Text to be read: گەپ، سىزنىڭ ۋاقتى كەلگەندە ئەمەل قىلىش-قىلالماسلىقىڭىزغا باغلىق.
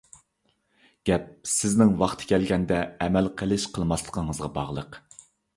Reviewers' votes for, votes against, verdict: 1, 2, rejected